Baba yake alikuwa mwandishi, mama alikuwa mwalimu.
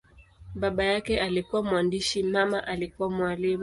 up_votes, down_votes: 7, 1